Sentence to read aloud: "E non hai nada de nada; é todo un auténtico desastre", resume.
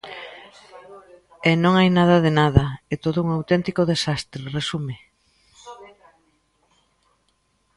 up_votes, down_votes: 1, 2